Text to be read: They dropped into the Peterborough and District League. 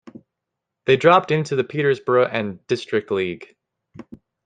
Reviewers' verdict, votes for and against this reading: rejected, 0, 2